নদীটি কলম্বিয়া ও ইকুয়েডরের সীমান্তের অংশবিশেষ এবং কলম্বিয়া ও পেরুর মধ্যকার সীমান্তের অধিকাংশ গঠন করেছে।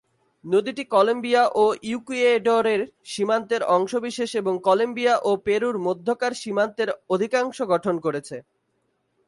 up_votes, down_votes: 0, 2